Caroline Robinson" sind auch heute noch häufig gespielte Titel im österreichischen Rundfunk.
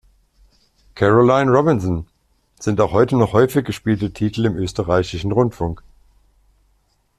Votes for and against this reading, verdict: 2, 0, accepted